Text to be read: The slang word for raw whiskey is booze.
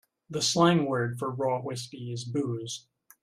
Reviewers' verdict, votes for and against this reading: accepted, 2, 0